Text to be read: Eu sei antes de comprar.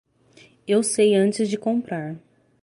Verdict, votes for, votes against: accepted, 3, 0